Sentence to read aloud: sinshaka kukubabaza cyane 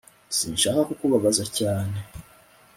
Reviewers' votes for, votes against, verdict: 2, 0, accepted